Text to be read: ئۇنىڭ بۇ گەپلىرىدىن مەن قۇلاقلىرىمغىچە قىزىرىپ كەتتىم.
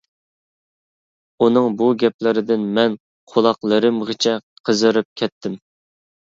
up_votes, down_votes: 2, 0